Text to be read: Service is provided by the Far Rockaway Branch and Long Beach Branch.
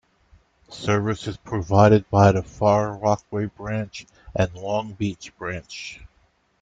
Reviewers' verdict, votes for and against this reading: accepted, 2, 1